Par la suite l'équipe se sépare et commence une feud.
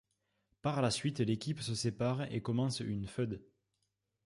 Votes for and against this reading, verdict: 1, 2, rejected